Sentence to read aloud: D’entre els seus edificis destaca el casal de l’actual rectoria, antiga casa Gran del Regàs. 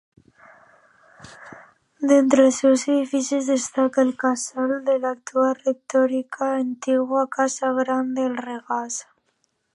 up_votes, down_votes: 2, 0